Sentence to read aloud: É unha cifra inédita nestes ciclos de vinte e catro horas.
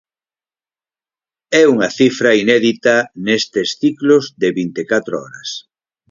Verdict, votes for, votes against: accepted, 4, 0